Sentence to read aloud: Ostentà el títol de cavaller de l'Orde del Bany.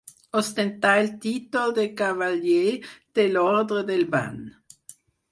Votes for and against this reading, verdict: 4, 0, accepted